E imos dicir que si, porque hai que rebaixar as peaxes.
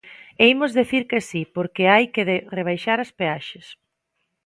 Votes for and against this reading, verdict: 0, 2, rejected